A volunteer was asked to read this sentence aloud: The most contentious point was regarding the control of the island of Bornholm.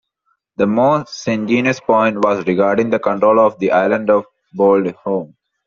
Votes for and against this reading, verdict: 2, 1, accepted